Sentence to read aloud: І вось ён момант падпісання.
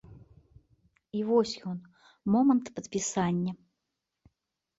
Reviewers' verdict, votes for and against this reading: accepted, 2, 0